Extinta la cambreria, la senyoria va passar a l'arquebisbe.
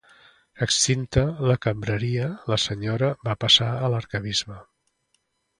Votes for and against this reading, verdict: 0, 2, rejected